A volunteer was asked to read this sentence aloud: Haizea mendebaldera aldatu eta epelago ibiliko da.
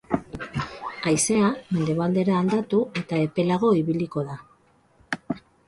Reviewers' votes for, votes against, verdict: 6, 9, rejected